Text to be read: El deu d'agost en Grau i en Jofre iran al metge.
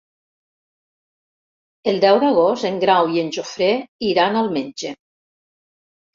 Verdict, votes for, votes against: rejected, 0, 3